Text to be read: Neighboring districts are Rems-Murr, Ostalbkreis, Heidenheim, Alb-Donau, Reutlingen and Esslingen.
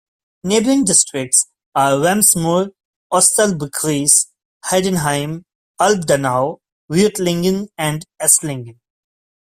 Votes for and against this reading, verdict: 1, 2, rejected